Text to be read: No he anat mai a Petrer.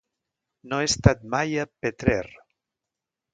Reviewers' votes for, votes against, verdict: 0, 2, rejected